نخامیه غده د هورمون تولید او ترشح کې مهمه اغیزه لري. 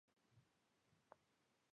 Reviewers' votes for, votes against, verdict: 0, 2, rejected